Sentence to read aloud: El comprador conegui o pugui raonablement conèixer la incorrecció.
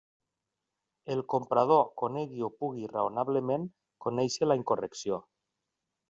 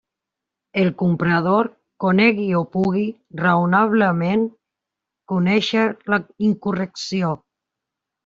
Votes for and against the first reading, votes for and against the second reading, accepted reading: 2, 0, 0, 2, first